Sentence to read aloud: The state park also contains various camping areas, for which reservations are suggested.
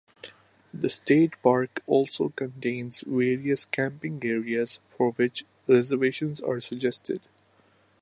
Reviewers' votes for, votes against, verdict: 2, 0, accepted